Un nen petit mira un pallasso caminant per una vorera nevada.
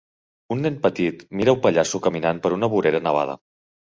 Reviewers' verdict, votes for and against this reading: accepted, 4, 0